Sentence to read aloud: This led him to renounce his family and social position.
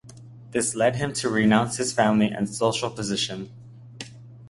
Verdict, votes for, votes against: accepted, 2, 0